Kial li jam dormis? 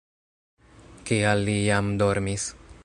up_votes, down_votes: 1, 2